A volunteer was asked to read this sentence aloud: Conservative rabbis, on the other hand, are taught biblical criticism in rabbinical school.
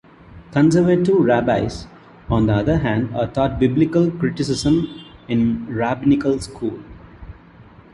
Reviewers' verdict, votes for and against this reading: rejected, 1, 2